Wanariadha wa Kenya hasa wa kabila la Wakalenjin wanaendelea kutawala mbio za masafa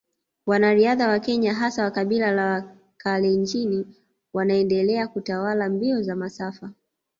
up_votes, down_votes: 2, 0